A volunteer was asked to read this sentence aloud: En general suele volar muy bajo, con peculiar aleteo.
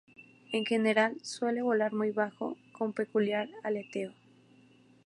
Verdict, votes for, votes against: rejected, 0, 2